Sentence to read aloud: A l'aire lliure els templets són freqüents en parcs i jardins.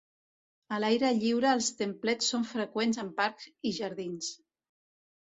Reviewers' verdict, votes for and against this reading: rejected, 1, 2